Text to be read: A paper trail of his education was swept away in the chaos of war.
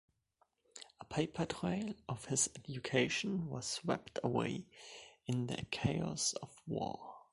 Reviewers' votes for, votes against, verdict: 2, 1, accepted